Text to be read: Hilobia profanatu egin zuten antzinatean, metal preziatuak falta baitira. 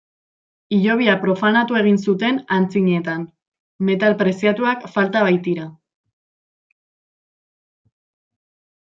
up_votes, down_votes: 0, 2